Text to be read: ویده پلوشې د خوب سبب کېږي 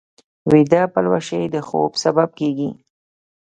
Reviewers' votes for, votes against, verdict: 1, 2, rejected